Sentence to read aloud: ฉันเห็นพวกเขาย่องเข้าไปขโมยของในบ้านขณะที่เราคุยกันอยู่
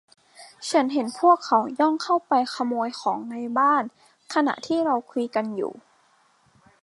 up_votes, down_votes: 2, 0